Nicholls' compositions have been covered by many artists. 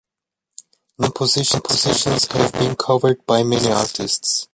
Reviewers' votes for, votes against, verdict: 0, 2, rejected